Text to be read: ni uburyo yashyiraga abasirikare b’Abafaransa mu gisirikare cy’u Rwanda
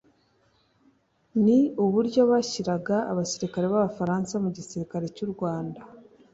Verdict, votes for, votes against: accepted, 2, 1